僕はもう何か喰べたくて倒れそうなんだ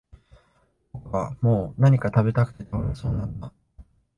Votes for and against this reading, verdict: 1, 2, rejected